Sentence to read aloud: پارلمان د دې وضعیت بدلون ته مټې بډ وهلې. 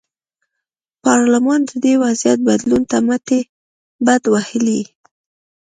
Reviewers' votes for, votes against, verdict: 3, 0, accepted